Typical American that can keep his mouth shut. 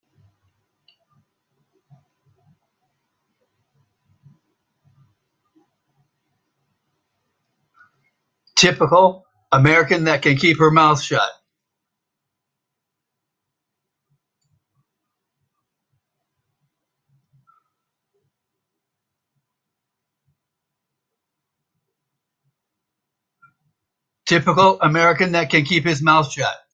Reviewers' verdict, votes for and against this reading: rejected, 0, 2